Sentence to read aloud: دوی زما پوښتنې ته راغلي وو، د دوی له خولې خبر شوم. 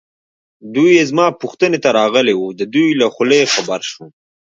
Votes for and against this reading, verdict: 0, 2, rejected